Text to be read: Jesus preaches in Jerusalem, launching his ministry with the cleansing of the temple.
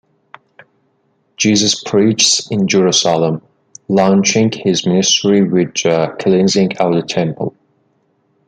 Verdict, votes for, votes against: rejected, 1, 2